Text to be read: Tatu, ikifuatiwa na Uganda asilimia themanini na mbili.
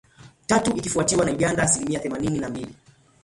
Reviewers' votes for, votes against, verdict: 2, 0, accepted